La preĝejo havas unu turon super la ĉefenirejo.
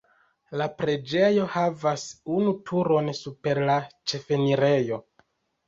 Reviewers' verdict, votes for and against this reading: rejected, 1, 2